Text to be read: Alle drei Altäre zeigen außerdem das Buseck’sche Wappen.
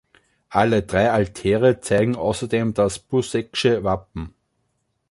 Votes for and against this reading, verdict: 2, 0, accepted